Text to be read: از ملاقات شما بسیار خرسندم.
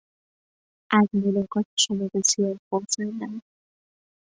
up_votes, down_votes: 1, 2